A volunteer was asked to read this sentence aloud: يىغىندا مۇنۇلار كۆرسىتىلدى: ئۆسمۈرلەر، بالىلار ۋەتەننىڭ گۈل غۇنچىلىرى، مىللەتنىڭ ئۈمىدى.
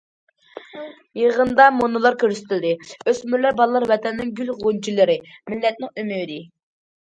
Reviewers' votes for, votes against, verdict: 2, 0, accepted